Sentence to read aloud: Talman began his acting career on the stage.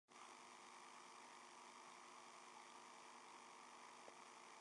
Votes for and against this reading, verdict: 0, 2, rejected